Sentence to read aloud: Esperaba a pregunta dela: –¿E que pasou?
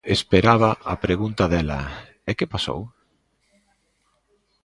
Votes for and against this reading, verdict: 2, 0, accepted